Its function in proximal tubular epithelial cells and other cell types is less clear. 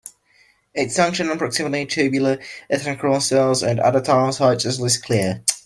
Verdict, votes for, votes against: rejected, 0, 2